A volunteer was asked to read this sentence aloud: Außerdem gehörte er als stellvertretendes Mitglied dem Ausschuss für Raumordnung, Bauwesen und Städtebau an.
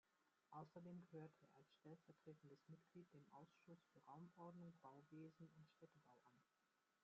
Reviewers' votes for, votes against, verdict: 1, 2, rejected